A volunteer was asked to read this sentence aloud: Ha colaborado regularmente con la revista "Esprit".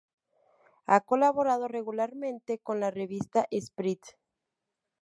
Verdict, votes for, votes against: accepted, 8, 0